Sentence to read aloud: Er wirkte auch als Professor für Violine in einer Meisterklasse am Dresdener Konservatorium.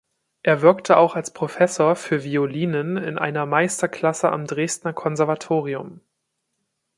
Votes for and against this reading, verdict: 0, 2, rejected